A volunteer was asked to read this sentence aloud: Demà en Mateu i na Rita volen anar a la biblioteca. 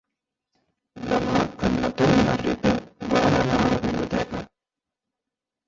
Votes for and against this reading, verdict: 0, 2, rejected